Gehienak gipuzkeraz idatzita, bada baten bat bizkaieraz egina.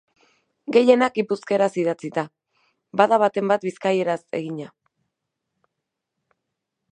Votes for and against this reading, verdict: 2, 0, accepted